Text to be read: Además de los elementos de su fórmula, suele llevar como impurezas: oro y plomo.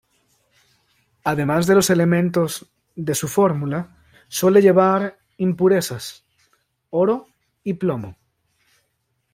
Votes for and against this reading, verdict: 1, 2, rejected